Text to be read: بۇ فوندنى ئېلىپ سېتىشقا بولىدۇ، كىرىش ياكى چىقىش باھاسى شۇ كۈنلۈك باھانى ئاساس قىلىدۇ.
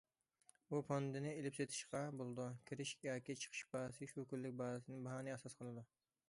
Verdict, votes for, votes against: rejected, 0, 2